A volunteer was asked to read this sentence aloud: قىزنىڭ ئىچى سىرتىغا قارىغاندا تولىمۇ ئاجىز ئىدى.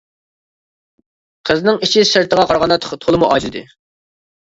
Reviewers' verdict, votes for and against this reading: rejected, 0, 2